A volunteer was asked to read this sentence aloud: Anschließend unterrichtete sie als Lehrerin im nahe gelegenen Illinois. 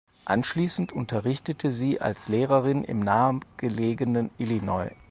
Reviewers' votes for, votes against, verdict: 2, 4, rejected